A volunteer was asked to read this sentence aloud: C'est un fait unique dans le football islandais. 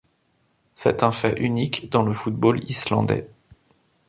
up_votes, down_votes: 2, 0